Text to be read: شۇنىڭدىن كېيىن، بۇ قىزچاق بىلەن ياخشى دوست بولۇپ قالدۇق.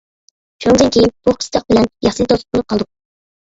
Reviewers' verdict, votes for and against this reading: rejected, 1, 2